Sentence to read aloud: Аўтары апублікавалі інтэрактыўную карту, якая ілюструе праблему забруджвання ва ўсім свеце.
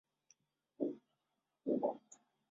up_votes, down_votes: 0, 3